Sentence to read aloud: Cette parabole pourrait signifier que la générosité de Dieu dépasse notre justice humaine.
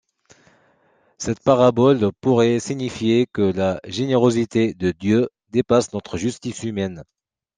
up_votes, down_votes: 2, 0